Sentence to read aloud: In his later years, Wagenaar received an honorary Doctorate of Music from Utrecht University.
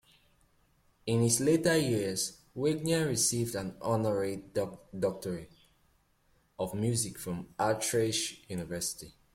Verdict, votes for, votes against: rejected, 0, 2